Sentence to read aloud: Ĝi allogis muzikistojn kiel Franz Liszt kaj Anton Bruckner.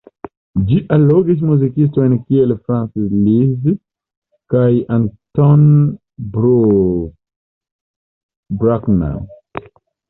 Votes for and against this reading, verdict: 0, 2, rejected